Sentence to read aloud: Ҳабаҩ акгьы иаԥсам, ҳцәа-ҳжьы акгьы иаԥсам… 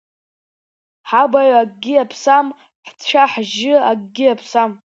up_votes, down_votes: 1, 2